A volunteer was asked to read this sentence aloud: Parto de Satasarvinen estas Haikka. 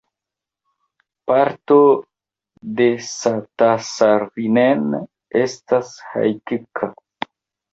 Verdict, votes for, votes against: rejected, 2, 3